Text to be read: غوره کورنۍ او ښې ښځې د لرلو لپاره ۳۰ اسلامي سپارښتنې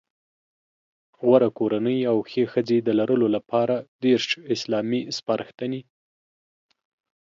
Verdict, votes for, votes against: rejected, 0, 2